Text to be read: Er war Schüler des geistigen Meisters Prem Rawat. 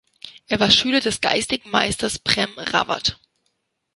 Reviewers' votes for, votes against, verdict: 2, 1, accepted